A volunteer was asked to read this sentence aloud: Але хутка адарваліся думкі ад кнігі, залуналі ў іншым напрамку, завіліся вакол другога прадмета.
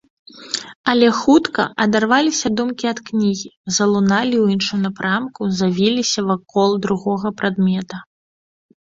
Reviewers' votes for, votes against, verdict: 2, 0, accepted